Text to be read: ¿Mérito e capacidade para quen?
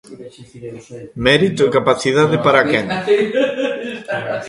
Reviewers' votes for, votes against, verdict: 1, 2, rejected